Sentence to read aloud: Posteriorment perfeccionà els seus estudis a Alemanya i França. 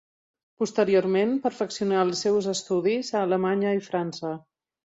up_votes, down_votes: 2, 0